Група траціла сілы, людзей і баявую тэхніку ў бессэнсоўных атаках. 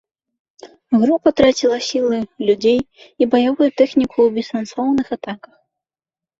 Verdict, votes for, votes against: accepted, 3, 0